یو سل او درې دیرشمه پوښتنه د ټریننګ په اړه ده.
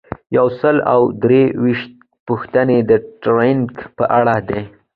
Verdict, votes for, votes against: accepted, 2, 0